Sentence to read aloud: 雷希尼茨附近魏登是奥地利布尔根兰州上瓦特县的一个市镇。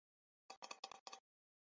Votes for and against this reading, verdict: 0, 2, rejected